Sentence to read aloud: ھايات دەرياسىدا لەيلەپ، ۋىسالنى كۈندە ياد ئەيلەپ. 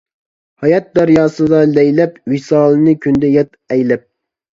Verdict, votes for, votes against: rejected, 0, 2